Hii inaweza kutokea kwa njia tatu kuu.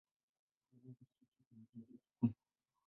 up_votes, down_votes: 0, 2